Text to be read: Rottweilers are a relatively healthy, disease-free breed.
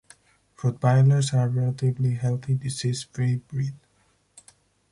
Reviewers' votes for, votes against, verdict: 4, 0, accepted